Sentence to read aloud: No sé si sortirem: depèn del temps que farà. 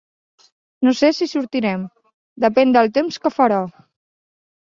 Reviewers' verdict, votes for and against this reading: accepted, 3, 0